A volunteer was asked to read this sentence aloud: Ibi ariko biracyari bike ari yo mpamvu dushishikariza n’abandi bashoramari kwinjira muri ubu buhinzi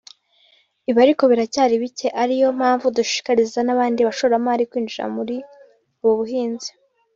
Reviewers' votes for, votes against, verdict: 0, 2, rejected